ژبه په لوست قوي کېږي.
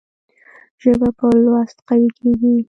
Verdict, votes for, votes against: rejected, 1, 2